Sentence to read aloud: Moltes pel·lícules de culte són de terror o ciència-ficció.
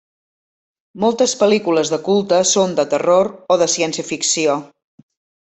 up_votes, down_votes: 0, 2